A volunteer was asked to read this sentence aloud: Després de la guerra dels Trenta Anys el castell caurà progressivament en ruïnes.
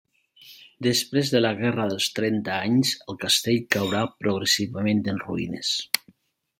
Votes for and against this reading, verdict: 3, 0, accepted